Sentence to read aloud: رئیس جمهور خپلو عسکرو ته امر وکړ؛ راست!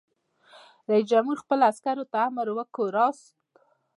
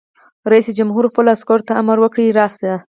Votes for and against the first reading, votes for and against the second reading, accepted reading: 1, 2, 4, 0, second